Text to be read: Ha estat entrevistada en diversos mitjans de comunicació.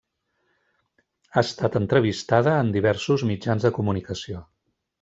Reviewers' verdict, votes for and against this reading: accepted, 3, 0